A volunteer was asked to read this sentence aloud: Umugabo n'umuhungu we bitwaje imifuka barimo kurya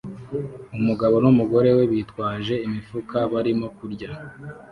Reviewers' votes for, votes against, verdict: 1, 2, rejected